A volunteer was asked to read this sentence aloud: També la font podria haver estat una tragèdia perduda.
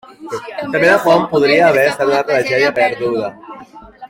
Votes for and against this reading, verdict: 2, 1, accepted